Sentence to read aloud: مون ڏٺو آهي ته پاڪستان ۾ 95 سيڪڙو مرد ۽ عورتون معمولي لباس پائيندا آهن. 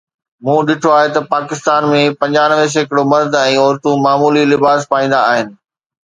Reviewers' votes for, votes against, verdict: 0, 2, rejected